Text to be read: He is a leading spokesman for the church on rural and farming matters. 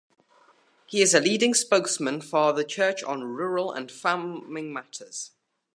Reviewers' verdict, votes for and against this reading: accepted, 2, 0